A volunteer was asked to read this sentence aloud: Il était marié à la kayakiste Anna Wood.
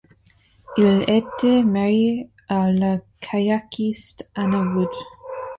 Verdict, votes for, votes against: accepted, 2, 0